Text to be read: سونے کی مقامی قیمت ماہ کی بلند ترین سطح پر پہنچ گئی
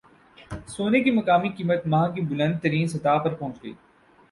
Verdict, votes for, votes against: accepted, 24, 2